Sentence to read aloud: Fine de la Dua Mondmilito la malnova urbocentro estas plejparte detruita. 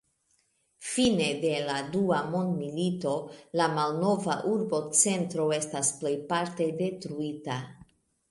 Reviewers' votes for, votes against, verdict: 1, 2, rejected